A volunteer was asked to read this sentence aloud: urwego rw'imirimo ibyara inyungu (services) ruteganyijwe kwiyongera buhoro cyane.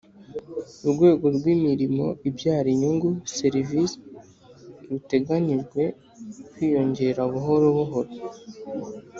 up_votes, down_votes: 1, 3